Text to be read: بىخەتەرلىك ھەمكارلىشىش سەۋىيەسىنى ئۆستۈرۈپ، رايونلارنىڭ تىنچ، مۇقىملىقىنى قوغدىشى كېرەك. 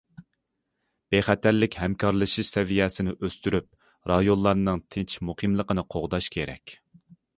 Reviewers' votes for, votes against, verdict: 1, 2, rejected